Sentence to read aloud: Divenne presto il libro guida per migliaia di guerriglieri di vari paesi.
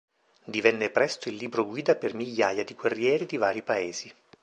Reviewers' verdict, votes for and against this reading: rejected, 0, 2